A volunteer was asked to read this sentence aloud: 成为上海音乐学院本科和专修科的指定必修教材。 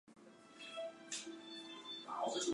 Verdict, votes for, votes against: rejected, 0, 2